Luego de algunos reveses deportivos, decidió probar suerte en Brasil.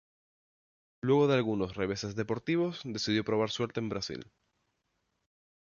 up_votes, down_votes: 0, 2